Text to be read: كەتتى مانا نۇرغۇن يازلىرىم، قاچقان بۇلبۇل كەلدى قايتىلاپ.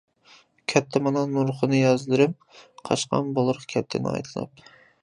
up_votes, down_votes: 0, 2